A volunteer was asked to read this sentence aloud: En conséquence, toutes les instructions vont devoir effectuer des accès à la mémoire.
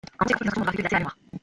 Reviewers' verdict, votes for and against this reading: rejected, 0, 2